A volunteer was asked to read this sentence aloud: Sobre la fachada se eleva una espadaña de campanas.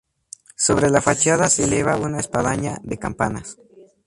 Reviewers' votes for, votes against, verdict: 2, 0, accepted